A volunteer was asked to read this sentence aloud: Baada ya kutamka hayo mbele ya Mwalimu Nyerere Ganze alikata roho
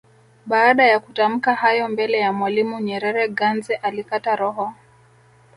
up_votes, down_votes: 2, 0